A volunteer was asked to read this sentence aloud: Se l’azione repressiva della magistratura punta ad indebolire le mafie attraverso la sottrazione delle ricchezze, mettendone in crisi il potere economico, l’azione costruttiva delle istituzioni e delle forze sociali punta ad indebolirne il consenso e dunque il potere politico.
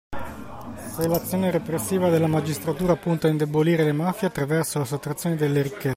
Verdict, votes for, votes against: rejected, 0, 2